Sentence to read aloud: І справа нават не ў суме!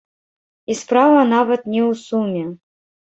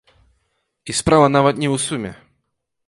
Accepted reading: second